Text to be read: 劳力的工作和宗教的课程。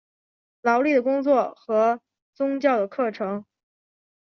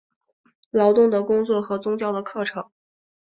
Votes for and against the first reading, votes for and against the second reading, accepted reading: 5, 1, 0, 2, first